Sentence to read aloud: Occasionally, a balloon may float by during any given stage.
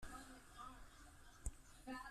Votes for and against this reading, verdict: 0, 2, rejected